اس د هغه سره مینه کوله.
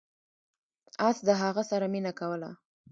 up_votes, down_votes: 1, 2